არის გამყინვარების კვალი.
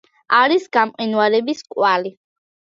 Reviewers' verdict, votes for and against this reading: accepted, 2, 0